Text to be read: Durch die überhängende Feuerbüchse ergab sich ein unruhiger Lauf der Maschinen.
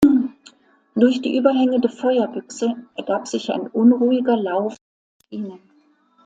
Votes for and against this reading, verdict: 0, 2, rejected